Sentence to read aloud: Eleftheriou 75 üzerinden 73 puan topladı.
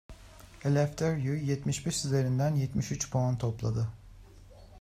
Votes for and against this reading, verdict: 0, 2, rejected